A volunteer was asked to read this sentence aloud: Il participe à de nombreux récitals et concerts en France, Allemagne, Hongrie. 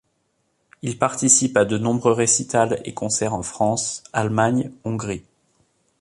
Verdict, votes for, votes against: accepted, 3, 0